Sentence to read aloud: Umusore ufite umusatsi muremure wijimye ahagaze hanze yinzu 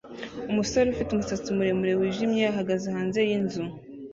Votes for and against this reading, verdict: 2, 0, accepted